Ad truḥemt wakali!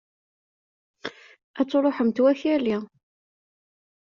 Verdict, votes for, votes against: accepted, 2, 0